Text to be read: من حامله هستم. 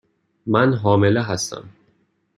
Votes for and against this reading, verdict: 2, 0, accepted